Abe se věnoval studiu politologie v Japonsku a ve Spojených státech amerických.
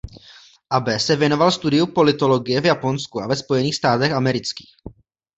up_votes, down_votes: 2, 0